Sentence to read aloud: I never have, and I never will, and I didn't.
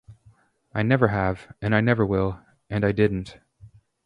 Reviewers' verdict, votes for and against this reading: accepted, 4, 0